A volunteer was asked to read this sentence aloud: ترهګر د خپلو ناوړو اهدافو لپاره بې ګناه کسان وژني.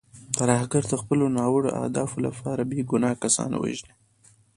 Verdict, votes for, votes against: rejected, 1, 2